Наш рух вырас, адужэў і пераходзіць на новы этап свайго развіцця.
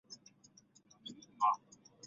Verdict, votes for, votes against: rejected, 1, 2